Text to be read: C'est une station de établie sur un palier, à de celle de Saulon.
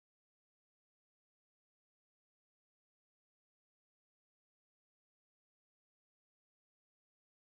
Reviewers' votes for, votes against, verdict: 0, 2, rejected